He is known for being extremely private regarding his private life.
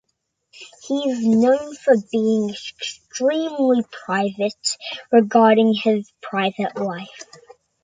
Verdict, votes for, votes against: accepted, 2, 0